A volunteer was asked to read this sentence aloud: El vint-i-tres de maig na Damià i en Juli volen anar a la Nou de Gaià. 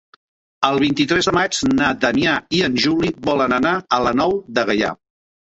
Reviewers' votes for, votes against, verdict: 3, 0, accepted